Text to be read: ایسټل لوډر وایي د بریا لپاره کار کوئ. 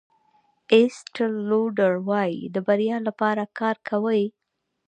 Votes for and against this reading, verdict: 2, 1, accepted